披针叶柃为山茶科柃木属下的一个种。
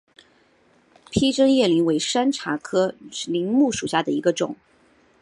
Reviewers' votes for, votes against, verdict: 5, 0, accepted